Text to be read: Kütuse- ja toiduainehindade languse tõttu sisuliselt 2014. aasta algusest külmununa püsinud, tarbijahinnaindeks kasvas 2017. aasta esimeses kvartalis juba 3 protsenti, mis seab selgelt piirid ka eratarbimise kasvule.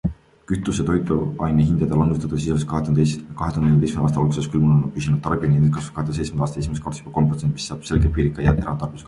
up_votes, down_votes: 0, 2